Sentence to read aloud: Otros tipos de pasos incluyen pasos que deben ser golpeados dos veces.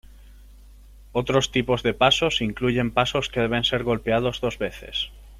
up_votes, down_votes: 3, 0